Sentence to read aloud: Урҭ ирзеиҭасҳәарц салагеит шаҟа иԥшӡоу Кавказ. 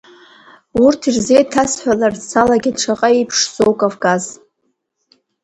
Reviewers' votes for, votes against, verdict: 0, 2, rejected